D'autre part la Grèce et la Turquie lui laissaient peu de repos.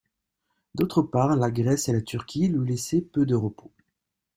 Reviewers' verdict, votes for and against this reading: accepted, 2, 0